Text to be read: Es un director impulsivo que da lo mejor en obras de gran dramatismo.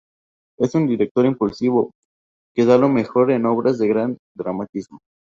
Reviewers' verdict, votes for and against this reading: accepted, 2, 0